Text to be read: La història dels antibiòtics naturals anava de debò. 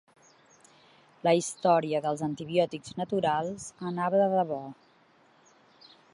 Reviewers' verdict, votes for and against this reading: accepted, 3, 0